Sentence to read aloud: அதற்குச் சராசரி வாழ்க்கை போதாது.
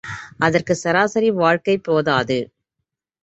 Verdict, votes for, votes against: accepted, 2, 0